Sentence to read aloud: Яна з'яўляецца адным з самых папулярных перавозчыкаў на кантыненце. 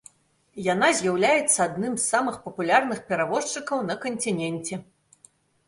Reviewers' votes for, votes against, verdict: 0, 2, rejected